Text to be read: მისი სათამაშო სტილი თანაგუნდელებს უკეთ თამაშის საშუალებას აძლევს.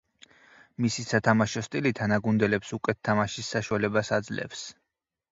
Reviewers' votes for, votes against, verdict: 2, 4, rejected